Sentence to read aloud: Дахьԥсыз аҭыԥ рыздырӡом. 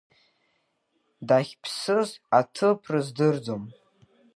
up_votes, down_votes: 2, 0